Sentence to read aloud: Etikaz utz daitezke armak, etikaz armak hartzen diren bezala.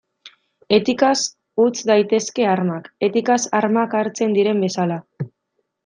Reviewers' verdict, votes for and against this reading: accepted, 2, 0